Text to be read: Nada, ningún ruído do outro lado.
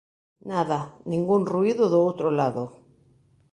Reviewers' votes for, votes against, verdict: 2, 0, accepted